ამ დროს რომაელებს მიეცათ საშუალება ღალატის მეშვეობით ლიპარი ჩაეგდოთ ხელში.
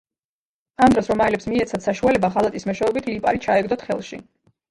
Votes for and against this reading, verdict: 1, 2, rejected